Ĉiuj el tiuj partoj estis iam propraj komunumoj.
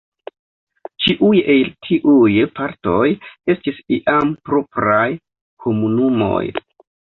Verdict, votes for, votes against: accepted, 3, 0